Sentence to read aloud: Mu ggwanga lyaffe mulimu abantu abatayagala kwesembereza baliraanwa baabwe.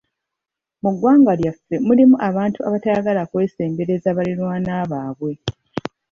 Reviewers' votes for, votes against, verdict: 2, 1, accepted